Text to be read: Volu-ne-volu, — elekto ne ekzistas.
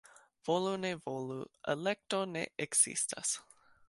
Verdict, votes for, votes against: rejected, 1, 2